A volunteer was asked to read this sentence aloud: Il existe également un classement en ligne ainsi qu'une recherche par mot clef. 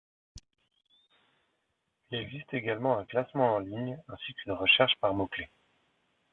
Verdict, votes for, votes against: accepted, 2, 0